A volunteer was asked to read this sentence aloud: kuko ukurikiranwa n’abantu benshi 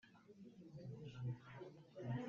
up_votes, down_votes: 0, 3